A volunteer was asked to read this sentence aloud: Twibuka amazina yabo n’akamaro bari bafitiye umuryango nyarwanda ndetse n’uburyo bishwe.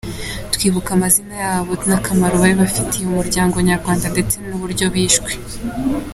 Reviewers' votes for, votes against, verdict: 2, 0, accepted